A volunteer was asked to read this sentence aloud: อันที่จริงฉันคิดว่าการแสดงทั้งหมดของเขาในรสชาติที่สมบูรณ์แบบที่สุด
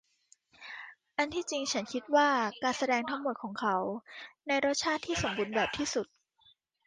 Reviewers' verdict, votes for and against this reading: accepted, 2, 1